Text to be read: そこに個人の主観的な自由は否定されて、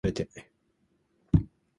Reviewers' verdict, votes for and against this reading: rejected, 0, 2